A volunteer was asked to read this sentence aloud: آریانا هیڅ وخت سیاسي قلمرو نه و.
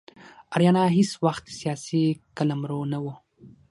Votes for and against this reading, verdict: 6, 0, accepted